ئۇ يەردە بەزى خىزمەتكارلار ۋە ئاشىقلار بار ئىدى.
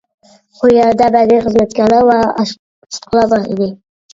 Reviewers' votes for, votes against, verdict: 0, 2, rejected